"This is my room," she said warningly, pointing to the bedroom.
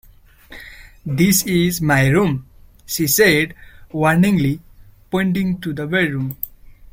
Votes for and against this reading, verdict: 2, 1, accepted